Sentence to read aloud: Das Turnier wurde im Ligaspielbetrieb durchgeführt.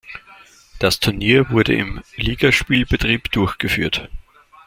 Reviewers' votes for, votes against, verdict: 2, 0, accepted